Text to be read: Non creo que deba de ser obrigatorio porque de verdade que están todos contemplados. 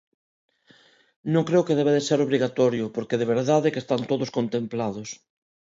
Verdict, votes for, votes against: accepted, 2, 0